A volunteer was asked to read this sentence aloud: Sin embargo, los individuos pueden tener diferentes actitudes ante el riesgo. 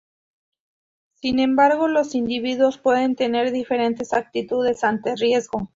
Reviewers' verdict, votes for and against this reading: rejected, 0, 2